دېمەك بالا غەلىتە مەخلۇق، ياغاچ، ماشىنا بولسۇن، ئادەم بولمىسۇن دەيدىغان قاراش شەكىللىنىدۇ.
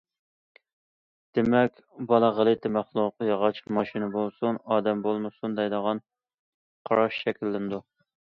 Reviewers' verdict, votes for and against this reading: accepted, 2, 0